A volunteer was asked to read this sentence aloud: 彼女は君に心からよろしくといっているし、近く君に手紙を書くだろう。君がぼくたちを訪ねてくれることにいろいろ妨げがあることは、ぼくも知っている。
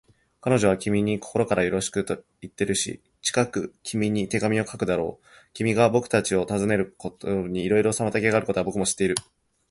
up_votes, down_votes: 2, 0